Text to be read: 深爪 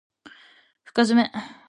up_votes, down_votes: 3, 0